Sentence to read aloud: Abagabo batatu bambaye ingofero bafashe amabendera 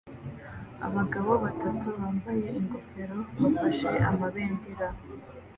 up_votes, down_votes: 2, 0